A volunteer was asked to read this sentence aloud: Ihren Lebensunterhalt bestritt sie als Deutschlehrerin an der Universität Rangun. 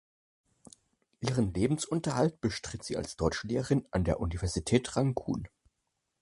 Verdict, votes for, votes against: accepted, 4, 2